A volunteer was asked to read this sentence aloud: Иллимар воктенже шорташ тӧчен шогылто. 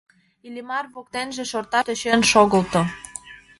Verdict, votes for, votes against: accepted, 2, 1